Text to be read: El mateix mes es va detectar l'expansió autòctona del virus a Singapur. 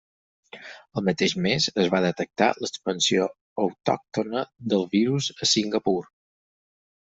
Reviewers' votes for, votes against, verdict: 6, 0, accepted